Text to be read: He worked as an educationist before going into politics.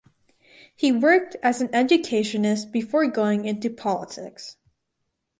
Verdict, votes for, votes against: accepted, 4, 0